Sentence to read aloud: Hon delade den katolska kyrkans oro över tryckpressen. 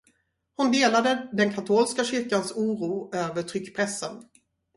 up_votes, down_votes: 4, 0